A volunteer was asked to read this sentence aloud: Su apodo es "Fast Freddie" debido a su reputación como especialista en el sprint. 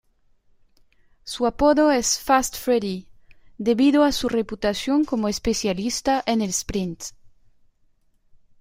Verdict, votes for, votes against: rejected, 0, 2